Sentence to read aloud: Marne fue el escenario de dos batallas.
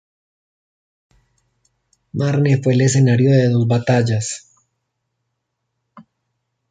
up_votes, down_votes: 1, 2